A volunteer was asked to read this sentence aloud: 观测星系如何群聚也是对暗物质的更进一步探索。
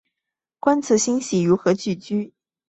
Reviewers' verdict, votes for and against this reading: rejected, 1, 3